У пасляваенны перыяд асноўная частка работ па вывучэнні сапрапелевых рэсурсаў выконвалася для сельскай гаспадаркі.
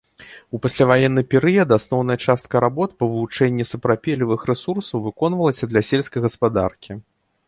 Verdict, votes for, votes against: accepted, 2, 0